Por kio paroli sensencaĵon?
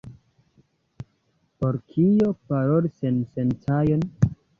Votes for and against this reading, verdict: 2, 0, accepted